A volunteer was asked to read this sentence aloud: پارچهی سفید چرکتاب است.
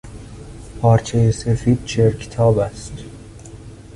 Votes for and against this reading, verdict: 2, 0, accepted